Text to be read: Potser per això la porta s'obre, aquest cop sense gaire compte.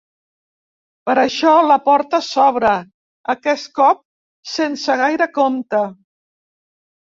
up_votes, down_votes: 1, 2